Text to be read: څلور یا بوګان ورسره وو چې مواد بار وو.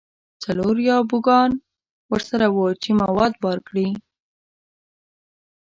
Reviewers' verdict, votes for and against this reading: rejected, 3, 4